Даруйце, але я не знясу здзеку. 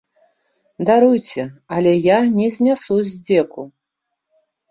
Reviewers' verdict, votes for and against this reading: accepted, 2, 0